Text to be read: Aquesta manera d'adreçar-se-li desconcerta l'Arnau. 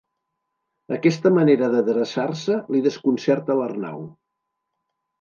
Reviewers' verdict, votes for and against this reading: rejected, 0, 2